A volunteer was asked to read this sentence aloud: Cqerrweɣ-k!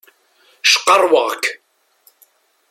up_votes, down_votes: 2, 0